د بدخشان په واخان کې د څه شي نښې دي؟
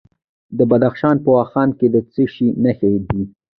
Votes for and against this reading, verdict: 0, 2, rejected